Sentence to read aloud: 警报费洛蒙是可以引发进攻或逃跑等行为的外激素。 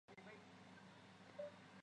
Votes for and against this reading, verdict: 0, 2, rejected